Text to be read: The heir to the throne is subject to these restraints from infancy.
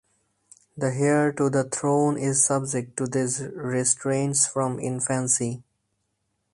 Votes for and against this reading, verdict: 4, 2, accepted